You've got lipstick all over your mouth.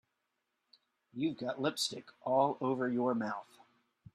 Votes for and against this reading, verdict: 3, 0, accepted